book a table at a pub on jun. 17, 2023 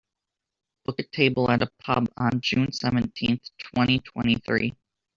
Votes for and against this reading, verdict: 0, 2, rejected